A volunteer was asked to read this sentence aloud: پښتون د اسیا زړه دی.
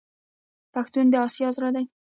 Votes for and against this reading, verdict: 0, 2, rejected